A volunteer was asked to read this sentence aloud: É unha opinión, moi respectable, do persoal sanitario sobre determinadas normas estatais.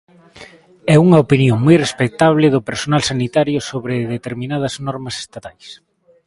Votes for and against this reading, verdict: 1, 2, rejected